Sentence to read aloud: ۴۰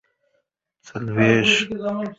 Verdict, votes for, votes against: rejected, 0, 2